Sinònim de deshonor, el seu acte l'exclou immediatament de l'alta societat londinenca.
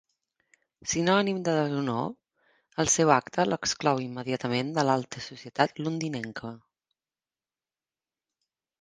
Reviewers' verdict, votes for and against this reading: accepted, 2, 0